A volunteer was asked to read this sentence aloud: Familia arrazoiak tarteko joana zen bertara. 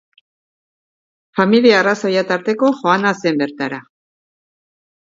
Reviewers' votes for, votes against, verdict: 4, 1, accepted